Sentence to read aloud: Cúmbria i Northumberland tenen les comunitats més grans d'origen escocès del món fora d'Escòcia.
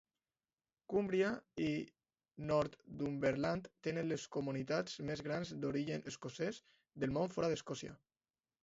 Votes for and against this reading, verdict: 2, 0, accepted